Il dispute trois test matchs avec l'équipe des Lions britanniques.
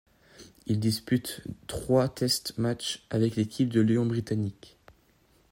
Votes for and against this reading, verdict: 1, 2, rejected